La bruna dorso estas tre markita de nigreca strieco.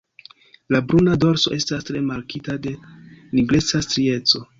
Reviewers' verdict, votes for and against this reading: accepted, 2, 1